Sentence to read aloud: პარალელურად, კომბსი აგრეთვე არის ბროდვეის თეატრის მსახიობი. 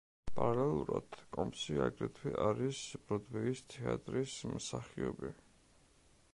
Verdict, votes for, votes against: accepted, 2, 0